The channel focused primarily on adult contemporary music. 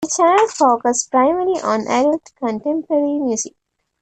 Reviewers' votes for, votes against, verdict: 0, 2, rejected